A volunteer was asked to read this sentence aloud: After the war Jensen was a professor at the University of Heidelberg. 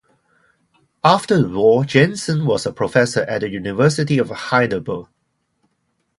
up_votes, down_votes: 0, 2